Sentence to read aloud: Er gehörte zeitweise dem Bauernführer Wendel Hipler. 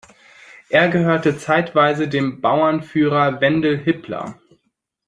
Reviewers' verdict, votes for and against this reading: accepted, 2, 0